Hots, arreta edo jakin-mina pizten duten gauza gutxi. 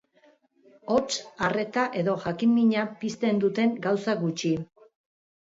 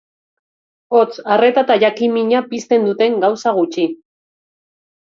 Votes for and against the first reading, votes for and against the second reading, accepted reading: 2, 1, 0, 2, first